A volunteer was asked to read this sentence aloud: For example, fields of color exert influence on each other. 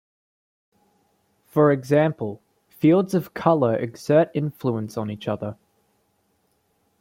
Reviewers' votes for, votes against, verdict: 2, 0, accepted